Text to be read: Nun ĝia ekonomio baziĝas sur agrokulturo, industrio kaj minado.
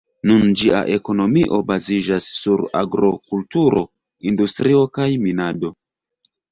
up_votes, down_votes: 2, 0